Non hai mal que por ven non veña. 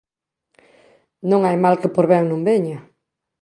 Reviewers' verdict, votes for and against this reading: accepted, 2, 0